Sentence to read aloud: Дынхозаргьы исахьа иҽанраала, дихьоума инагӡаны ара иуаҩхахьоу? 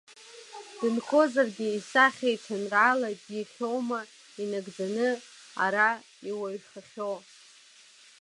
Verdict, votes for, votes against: rejected, 1, 2